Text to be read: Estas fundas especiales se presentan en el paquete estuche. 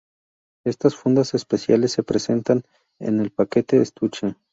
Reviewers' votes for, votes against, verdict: 8, 2, accepted